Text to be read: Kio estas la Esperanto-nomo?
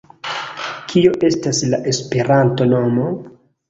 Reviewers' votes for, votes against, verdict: 2, 0, accepted